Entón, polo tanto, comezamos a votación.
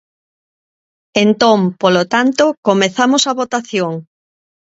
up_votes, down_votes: 2, 0